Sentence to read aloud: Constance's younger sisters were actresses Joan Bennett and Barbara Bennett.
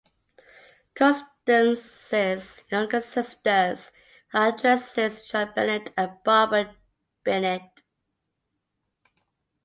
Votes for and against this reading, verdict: 0, 2, rejected